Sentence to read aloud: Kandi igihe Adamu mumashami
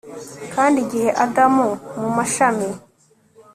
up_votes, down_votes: 2, 0